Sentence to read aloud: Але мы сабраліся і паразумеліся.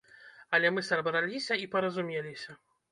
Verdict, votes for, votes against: rejected, 0, 2